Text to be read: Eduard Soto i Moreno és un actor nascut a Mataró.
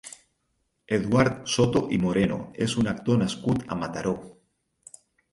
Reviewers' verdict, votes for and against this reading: accepted, 6, 0